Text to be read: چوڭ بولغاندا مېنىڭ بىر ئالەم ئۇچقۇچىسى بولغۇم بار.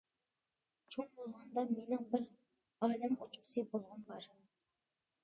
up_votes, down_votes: 0, 2